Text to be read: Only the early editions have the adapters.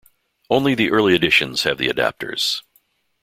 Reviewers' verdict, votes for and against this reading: accepted, 2, 0